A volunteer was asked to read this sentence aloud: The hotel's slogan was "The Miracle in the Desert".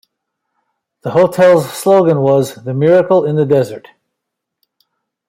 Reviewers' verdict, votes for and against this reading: accepted, 2, 0